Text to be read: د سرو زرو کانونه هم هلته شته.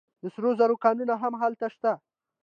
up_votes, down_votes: 2, 1